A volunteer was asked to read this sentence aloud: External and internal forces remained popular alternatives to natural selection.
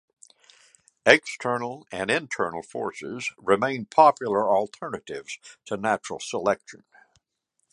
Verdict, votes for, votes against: accepted, 3, 0